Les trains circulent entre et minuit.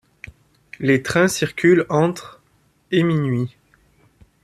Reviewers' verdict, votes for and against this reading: accepted, 2, 0